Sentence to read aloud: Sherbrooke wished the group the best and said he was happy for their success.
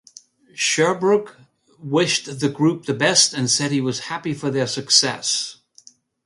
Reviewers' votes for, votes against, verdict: 2, 0, accepted